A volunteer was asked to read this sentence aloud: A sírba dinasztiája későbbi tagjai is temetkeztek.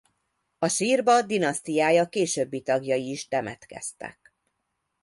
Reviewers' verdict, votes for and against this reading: rejected, 0, 2